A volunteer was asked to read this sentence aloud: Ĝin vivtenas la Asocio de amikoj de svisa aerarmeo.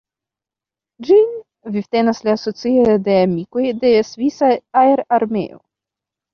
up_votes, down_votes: 1, 3